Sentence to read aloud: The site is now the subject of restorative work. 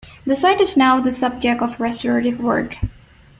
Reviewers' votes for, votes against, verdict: 2, 0, accepted